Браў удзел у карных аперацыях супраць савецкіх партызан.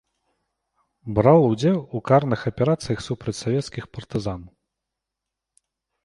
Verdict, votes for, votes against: accepted, 2, 0